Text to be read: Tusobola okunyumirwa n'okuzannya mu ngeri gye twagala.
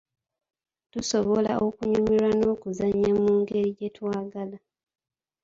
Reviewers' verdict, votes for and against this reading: rejected, 0, 2